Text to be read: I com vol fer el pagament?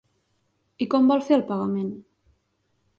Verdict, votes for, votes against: accepted, 3, 0